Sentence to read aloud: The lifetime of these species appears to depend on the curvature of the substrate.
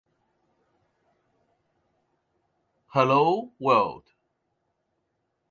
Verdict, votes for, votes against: rejected, 0, 2